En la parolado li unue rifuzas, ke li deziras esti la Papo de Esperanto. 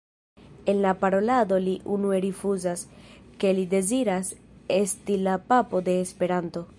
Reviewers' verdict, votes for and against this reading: accepted, 2, 1